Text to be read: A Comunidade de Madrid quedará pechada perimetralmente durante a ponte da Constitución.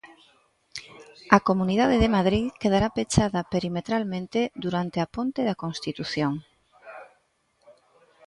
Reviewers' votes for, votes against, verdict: 0, 2, rejected